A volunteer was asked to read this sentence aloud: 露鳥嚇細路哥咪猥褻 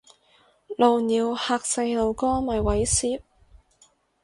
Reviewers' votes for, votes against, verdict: 4, 0, accepted